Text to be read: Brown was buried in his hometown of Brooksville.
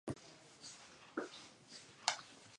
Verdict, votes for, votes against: rejected, 0, 2